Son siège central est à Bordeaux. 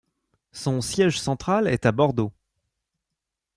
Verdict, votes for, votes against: accepted, 2, 0